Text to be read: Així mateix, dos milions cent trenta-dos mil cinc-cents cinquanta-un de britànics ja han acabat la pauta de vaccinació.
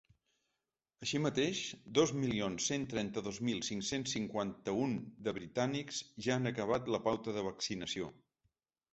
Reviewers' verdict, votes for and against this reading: rejected, 1, 2